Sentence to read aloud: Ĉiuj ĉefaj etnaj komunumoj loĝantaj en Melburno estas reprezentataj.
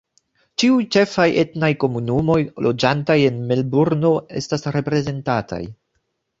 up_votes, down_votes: 2, 0